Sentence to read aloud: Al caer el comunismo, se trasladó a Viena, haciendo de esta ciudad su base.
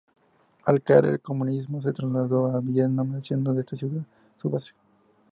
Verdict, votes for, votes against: accepted, 2, 0